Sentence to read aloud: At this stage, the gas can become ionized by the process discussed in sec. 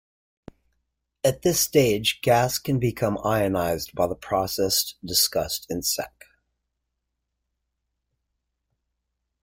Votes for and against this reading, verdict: 0, 2, rejected